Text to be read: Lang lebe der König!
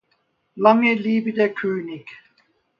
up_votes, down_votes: 1, 2